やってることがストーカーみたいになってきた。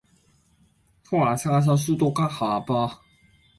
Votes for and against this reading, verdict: 1, 2, rejected